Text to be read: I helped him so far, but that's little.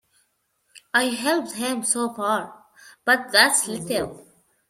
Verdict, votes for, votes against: accepted, 2, 1